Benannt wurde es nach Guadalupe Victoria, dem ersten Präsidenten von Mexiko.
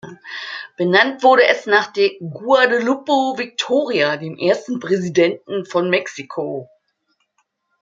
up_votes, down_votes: 0, 2